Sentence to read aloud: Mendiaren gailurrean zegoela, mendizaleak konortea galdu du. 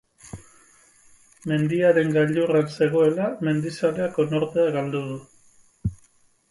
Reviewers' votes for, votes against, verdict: 0, 4, rejected